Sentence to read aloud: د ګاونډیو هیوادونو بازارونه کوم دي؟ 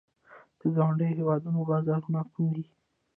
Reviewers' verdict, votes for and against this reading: accepted, 2, 1